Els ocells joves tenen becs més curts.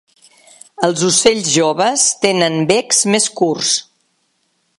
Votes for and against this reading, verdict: 2, 0, accepted